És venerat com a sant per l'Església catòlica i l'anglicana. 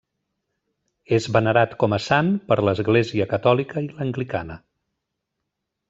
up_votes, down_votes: 3, 1